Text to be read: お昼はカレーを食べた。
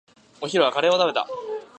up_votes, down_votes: 2, 0